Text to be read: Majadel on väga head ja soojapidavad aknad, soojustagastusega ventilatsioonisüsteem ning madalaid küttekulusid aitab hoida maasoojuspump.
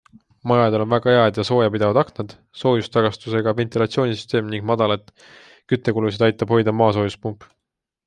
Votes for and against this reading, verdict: 2, 0, accepted